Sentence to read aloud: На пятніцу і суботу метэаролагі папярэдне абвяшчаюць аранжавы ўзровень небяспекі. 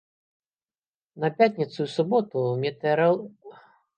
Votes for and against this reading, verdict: 0, 2, rejected